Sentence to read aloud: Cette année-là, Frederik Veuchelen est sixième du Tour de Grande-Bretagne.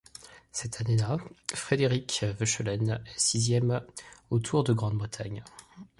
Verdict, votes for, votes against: rejected, 1, 2